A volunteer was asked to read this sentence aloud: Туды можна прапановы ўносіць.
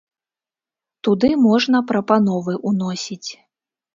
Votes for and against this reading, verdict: 1, 2, rejected